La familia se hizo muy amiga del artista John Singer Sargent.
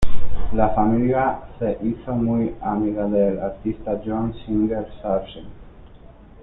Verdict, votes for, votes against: accepted, 2, 0